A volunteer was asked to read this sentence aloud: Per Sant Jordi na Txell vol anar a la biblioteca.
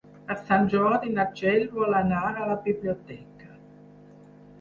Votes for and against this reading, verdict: 4, 0, accepted